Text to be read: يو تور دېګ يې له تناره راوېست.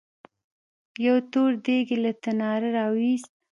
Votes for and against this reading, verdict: 1, 2, rejected